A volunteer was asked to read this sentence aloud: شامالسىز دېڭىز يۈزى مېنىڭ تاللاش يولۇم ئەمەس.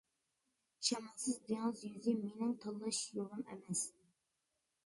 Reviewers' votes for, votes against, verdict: 0, 2, rejected